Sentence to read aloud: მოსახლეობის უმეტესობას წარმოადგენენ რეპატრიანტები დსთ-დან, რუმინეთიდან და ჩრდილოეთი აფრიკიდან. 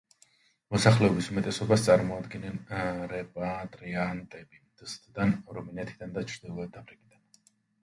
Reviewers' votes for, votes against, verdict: 1, 2, rejected